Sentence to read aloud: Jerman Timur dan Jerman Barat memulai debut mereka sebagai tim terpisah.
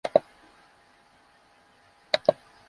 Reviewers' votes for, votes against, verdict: 0, 2, rejected